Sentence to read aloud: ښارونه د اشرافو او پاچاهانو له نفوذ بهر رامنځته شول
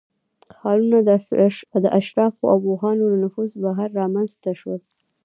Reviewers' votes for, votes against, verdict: 1, 2, rejected